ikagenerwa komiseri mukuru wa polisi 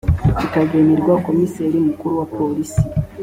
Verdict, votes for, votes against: accepted, 3, 0